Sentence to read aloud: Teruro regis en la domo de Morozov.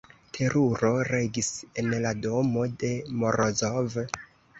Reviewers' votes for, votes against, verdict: 1, 2, rejected